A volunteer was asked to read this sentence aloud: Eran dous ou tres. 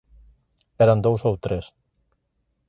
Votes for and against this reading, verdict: 2, 0, accepted